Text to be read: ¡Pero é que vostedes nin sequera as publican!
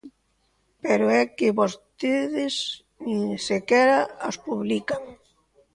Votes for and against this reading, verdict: 2, 0, accepted